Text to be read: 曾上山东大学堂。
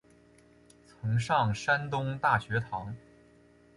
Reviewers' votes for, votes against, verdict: 5, 0, accepted